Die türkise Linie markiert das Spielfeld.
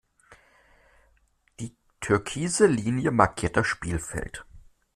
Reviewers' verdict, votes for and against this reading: accepted, 2, 0